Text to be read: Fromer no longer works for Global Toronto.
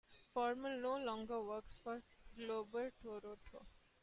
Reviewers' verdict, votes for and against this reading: rejected, 1, 3